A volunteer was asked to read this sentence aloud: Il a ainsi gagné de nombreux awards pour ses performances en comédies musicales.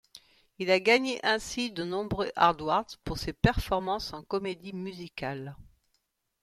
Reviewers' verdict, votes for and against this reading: rejected, 1, 2